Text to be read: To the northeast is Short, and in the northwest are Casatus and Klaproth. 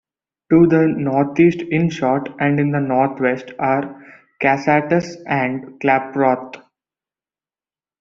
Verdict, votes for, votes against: rejected, 1, 2